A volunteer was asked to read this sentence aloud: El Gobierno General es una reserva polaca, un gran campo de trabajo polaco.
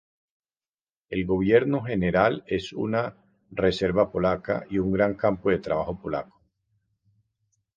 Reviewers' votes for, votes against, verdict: 0, 2, rejected